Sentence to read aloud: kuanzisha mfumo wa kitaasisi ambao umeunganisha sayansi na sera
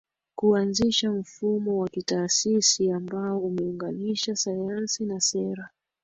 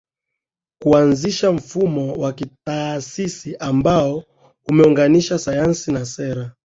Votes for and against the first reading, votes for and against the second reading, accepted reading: 3, 2, 0, 2, first